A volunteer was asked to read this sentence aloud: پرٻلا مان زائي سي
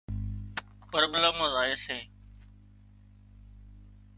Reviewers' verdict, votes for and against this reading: rejected, 0, 2